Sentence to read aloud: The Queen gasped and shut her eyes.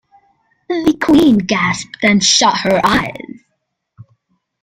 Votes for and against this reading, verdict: 2, 0, accepted